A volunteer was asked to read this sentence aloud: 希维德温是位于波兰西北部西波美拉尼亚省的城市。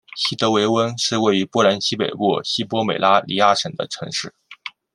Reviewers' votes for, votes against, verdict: 2, 0, accepted